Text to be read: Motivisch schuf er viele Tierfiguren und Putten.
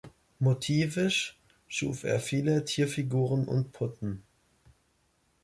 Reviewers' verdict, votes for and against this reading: accepted, 2, 0